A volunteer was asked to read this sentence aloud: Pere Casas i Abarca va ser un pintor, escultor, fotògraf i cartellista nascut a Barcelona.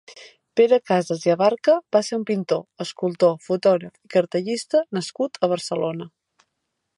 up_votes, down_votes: 0, 2